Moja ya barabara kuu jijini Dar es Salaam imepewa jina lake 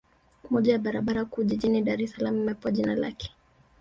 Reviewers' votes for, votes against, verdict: 3, 0, accepted